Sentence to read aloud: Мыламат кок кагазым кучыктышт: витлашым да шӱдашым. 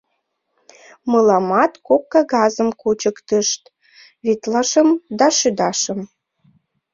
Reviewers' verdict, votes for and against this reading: accepted, 2, 1